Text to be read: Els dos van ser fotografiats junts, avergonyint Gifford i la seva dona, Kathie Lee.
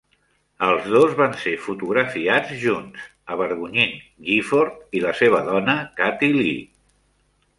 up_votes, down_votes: 2, 0